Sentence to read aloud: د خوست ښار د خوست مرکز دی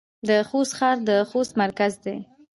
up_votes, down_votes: 2, 0